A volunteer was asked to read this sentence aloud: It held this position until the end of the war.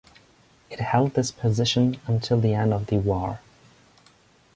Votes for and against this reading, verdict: 1, 2, rejected